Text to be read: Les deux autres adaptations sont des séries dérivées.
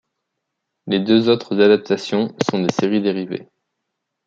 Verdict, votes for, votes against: accepted, 2, 1